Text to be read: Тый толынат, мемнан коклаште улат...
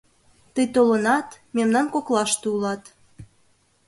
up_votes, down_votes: 2, 0